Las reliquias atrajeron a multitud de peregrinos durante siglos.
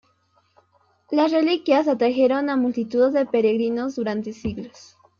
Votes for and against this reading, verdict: 2, 0, accepted